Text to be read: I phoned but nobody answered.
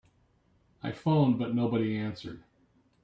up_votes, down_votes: 2, 1